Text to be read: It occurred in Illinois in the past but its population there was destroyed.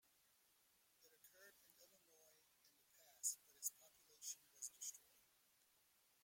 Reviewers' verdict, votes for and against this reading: rejected, 0, 2